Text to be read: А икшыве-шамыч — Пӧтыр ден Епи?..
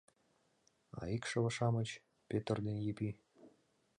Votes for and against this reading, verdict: 2, 0, accepted